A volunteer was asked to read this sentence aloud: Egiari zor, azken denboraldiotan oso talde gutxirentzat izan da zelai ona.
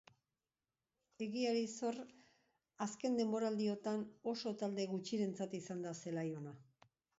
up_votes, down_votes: 3, 1